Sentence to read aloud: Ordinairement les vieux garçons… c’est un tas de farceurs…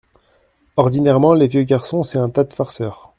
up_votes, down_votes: 1, 2